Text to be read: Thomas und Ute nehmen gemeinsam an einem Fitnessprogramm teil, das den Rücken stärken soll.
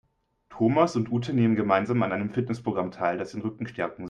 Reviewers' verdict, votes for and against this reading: rejected, 0, 3